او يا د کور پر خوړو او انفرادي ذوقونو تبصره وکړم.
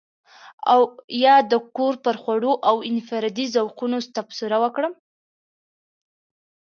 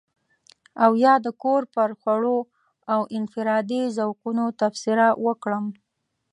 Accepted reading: first